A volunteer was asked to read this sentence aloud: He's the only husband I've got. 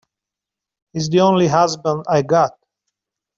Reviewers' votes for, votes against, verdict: 1, 2, rejected